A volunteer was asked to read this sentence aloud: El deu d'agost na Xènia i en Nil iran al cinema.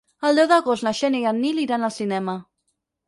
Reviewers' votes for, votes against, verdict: 8, 0, accepted